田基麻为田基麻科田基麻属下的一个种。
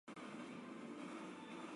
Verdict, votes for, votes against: rejected, 1, 2